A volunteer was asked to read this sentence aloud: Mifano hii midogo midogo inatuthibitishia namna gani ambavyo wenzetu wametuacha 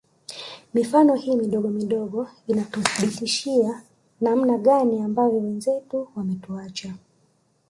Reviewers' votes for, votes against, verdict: 2, 1, accepted